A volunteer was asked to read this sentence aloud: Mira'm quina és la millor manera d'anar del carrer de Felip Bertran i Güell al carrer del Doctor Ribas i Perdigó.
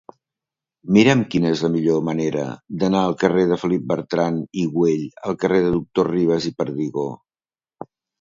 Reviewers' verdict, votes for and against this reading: rejected, 0, 2